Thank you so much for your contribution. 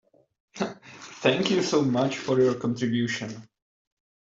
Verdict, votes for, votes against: rejected, 1, 2